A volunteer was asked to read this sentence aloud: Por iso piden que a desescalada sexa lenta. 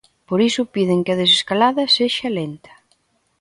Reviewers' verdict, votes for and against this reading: accepted, 2, 0